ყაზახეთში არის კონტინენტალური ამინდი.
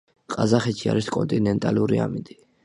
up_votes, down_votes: 2, 1